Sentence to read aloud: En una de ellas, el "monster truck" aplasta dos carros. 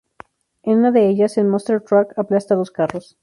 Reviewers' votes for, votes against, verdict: 2, 0, accepted